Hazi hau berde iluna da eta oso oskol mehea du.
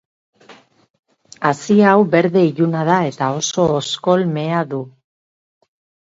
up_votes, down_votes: 2, 2